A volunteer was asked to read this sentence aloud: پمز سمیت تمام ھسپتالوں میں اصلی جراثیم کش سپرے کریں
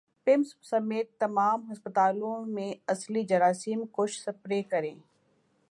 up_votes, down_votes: 2, 2